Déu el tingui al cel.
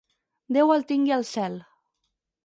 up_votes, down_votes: 4, 0